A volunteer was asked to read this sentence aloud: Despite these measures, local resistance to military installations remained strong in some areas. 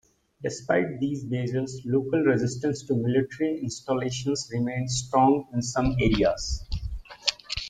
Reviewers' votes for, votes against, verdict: 2, 0, accepted